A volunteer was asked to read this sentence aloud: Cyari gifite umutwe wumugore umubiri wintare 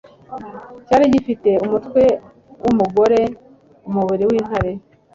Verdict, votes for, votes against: accepted, 2, 0